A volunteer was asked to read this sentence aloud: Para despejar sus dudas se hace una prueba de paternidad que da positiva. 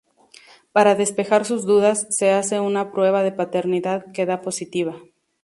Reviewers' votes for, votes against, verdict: 2, 0, accepted